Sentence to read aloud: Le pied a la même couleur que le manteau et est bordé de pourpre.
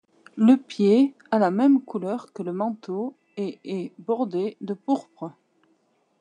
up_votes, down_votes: 2, 0